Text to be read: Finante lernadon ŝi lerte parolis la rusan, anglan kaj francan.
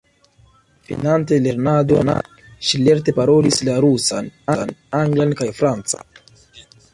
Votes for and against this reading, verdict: 2, 1, accepted